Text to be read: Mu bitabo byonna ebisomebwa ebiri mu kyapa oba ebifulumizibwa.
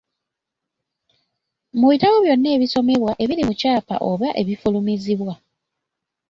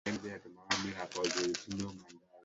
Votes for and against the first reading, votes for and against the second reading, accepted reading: 2, 0, 1, 2, first